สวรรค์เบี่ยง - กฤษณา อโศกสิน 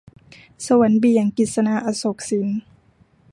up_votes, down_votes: 2, 0